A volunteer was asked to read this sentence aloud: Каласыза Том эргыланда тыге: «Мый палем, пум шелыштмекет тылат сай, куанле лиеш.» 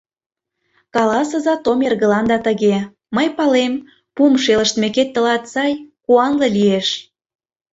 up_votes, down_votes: 2, 0